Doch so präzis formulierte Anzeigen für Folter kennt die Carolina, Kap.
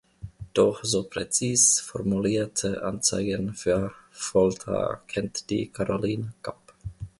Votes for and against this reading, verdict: 1, 2, rejected